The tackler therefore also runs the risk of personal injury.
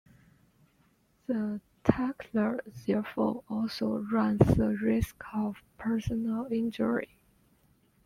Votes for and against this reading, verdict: 0, 2, rejected